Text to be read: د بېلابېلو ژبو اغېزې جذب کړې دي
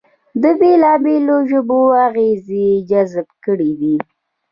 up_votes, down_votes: 2, 0